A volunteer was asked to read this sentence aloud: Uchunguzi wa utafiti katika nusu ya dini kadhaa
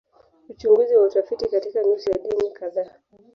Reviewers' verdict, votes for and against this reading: rejected, 1, 2